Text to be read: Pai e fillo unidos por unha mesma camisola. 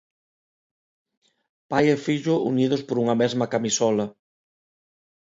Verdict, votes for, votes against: accepted, 2, 0